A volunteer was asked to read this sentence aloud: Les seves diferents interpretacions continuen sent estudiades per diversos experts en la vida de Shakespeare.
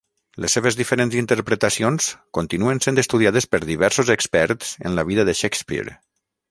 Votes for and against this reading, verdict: 6, 0, accepted